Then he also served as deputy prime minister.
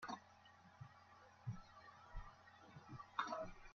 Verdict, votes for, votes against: rejected, 0, 2